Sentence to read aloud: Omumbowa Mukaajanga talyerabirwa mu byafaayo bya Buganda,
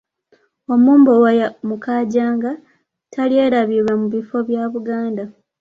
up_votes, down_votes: 1, 2